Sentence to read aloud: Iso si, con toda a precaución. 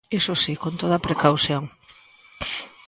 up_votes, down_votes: 2, 0